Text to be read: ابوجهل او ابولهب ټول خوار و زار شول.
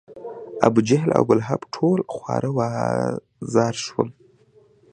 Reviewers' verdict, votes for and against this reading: accepted, 2, 0